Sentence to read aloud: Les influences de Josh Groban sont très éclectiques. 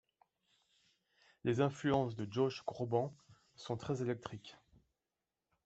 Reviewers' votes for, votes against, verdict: 0, 2, rejected